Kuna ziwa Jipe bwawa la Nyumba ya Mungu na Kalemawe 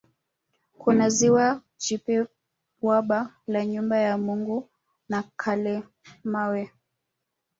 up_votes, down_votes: 1, 2